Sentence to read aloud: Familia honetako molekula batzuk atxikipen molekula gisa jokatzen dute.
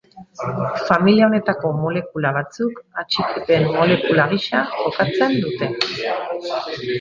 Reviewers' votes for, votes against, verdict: 0, 2, rejected